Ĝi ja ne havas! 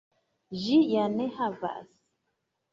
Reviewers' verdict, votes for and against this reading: accepted, 2, 0